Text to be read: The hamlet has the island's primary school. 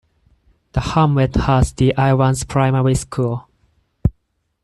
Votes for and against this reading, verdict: 2, 4, rejected